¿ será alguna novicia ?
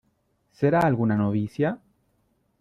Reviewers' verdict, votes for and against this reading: accepted, 2, 0